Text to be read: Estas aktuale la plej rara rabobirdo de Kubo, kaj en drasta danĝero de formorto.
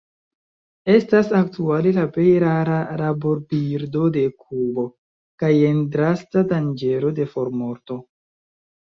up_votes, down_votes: 1, 2